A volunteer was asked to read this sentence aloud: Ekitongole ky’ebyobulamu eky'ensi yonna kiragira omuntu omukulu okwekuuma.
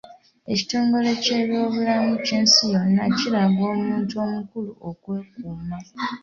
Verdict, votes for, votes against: accepted, 2, 1